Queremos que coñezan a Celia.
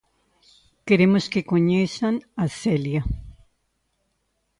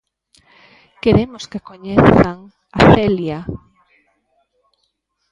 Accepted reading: first